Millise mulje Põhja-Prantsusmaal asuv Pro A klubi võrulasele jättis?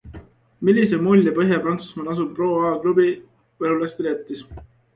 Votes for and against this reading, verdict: 2, 1, accepted